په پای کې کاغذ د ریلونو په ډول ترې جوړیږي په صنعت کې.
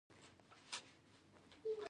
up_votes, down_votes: 1, 2